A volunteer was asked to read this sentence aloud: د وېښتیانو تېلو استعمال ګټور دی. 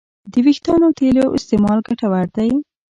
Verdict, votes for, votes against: accepted, 2, 1